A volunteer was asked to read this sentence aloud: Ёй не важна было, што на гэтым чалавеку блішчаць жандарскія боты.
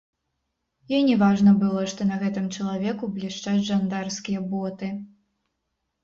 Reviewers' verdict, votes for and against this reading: rejected, 1, 2